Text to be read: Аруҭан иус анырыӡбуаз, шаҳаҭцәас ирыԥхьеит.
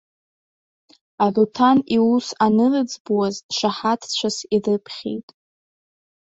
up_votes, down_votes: 1, 2